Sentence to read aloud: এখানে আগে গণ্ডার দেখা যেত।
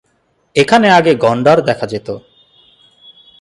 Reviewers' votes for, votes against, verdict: 2, 0, accepted